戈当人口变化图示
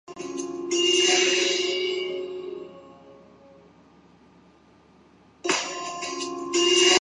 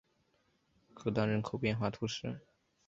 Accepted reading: second